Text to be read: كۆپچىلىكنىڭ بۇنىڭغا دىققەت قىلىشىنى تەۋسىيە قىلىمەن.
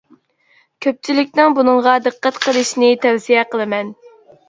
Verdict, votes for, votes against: accepted, 3, 0